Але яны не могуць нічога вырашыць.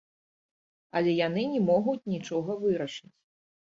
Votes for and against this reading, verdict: 0, 2, rejected